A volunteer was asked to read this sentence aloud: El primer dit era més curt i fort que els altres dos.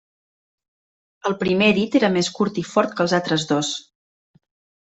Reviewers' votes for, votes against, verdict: 0, 2, rejected